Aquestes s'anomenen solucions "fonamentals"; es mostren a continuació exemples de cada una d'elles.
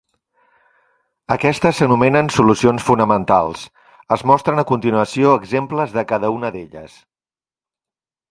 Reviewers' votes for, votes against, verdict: 3, 0, accepted